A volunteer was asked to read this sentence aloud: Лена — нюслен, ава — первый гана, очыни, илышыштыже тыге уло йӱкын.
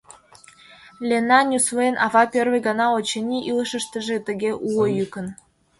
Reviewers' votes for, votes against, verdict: 2, 0, accepted